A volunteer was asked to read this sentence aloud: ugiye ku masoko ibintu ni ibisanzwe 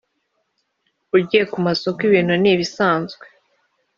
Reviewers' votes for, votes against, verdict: 2, 0, accepted